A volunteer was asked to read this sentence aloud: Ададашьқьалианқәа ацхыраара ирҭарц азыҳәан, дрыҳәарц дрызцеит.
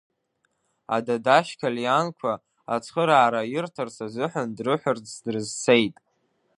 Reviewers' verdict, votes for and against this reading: rejected, 1, 2